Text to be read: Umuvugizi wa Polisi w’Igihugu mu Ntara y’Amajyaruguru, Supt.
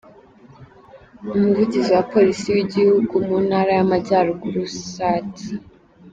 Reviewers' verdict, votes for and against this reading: rejected, 1, 2